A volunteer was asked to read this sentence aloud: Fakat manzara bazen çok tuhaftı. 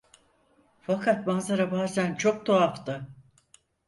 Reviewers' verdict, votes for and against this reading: accepted, 4, 0